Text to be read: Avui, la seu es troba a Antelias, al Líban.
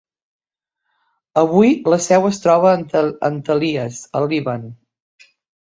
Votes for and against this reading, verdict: 0, 2, rejected